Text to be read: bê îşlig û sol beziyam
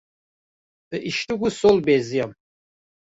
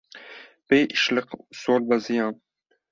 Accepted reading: second